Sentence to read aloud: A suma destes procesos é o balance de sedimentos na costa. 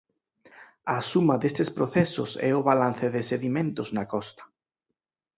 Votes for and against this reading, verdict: 4, 0, accepted